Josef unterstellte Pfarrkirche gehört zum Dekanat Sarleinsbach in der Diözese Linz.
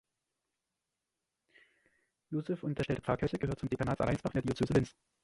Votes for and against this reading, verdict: 0, 2, rejected